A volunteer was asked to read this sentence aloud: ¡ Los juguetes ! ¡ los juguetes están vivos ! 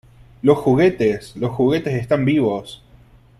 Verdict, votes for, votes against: accepted, 3, 0